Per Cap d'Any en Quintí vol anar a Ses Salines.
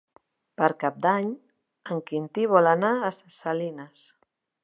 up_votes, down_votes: 3, 1